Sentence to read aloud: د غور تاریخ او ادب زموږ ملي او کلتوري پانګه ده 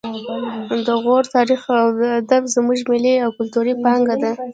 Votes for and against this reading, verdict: 0, 2, rejected